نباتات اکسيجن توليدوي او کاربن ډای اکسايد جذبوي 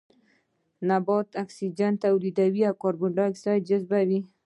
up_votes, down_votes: 0, 2